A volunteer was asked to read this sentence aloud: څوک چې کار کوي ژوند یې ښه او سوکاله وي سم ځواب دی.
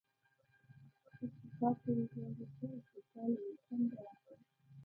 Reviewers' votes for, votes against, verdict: 0, 2, rejected